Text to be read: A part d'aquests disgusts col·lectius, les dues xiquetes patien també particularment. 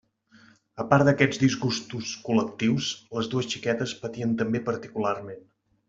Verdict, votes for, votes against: rejected, 1, 3